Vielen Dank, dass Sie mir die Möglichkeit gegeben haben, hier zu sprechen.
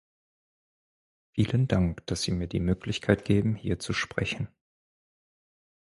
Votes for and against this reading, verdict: 2, 4, rejected